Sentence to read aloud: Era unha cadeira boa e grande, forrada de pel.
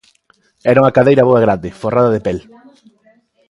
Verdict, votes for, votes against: accepted, 2, 0